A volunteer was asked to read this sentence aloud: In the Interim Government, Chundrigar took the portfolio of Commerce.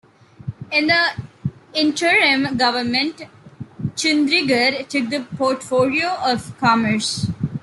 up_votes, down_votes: 2, 0